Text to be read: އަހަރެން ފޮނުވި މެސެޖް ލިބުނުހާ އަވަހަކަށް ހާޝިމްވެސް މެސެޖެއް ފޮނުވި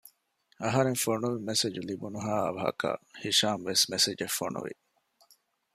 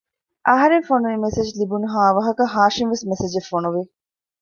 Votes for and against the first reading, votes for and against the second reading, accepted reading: 1, 2, 2, 0, second